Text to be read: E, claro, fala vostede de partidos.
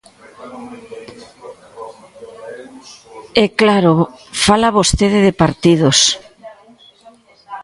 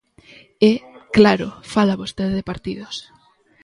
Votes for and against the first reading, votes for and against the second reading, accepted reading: 1, 2, 2, 0, second